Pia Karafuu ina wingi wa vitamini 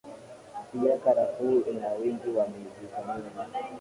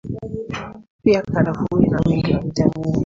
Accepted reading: first